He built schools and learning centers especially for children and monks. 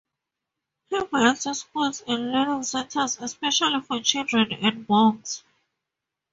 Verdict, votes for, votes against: accepted, 2, 0